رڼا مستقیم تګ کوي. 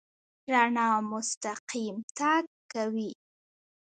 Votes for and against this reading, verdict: 0, 2, rejected